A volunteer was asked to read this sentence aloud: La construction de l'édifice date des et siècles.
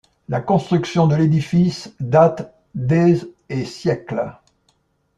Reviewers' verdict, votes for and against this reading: rejected, 1, 2